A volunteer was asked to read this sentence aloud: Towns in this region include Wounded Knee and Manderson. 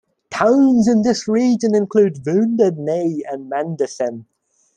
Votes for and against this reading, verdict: 1, 2, rejected